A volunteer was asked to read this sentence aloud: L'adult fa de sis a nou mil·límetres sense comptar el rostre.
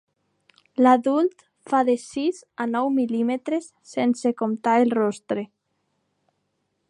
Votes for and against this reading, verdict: 2, 0, accepted